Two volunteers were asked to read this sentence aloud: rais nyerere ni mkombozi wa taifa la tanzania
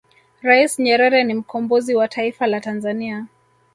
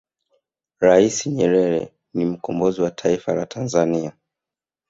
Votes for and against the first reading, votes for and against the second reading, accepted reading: 1, 2, 3, 0, second